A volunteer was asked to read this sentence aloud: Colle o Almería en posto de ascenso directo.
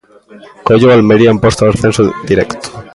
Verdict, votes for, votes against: rejected, 0, 2